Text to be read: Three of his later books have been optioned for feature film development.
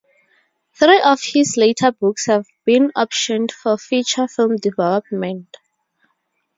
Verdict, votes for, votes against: accepted, 4, 0